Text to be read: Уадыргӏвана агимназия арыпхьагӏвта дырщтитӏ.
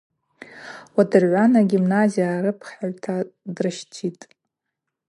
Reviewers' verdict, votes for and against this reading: accepted, 4, 0